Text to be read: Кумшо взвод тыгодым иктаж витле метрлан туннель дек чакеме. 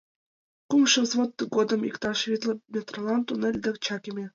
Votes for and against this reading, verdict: 1, 2, rejected